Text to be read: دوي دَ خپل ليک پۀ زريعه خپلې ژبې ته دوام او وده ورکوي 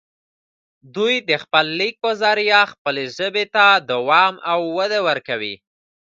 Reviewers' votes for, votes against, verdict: 3, 1, accepted